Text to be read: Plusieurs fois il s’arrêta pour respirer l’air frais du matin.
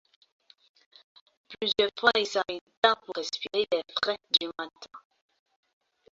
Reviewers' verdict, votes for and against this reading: accepted, 2, 0